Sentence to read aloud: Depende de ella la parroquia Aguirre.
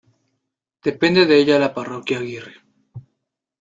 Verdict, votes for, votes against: accepted, 2, 0